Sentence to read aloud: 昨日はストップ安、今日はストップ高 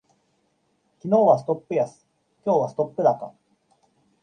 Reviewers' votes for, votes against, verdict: 2, 0, accepted